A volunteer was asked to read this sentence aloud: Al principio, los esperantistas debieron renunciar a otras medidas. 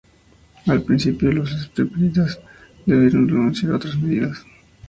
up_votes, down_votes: 0, 2